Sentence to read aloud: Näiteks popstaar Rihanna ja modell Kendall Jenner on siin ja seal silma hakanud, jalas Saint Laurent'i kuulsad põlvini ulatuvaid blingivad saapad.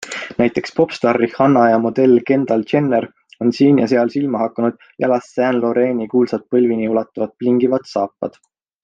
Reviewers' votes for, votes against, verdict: 4, 0, accepted